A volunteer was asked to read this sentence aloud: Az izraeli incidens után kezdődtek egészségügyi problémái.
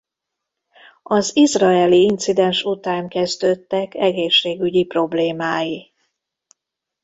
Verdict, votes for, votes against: accepted, 2, 0